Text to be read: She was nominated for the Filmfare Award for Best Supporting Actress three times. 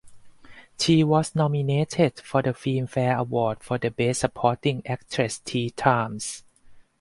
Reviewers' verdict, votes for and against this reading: accepted, 4, 2